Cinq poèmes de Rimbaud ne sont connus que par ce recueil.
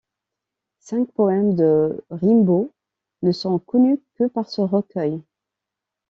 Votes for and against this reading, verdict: 0, 2, rejected